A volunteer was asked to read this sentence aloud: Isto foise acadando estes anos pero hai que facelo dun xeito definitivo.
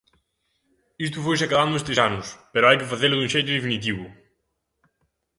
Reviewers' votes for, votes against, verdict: 2, 0, accepted